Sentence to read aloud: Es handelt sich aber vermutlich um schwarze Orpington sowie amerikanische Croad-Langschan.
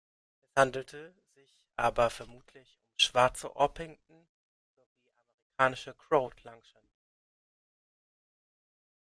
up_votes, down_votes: 0, 2